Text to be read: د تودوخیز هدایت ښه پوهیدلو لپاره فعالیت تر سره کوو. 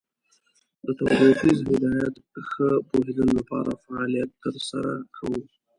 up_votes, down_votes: 0, 2